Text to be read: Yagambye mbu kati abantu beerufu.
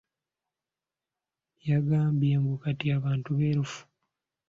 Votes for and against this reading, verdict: 2, 1, accepted